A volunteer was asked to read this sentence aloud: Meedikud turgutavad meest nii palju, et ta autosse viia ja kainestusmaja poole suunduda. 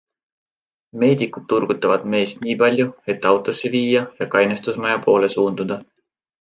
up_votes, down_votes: 2, 0